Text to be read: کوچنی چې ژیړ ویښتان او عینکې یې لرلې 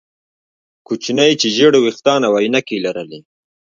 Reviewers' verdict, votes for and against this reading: rejected, 0, 2